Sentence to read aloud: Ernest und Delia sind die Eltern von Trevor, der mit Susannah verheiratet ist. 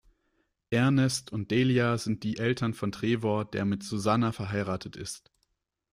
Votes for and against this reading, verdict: 1, 2, rejected